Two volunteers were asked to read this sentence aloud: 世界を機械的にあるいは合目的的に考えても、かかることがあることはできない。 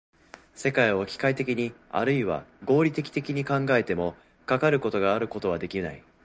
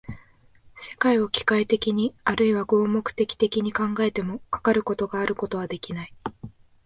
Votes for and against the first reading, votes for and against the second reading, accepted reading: 0, 2, 2, 0, second